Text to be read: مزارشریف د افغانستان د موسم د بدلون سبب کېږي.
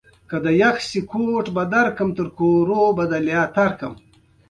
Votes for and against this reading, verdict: 2, 1, accepted